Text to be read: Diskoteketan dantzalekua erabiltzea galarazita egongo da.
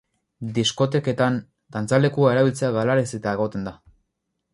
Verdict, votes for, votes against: rejected, 0, 4